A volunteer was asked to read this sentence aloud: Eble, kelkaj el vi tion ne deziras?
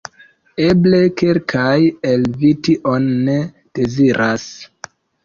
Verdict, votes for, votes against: accepted, 3, 0